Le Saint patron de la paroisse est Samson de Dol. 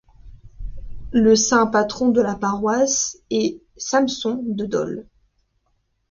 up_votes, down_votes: 2, 0